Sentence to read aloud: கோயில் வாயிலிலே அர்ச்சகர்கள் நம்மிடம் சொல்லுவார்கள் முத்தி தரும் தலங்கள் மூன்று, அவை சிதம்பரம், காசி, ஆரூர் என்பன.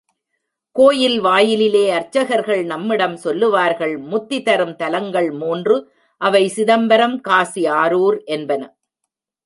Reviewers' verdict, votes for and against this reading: accepted, 2, 0